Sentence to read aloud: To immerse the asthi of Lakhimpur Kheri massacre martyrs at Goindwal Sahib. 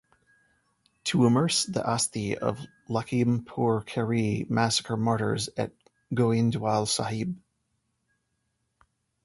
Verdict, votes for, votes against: accepted, 2, 0